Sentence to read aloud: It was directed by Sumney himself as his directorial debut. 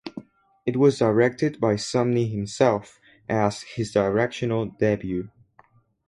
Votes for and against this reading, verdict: 0, 2, rejected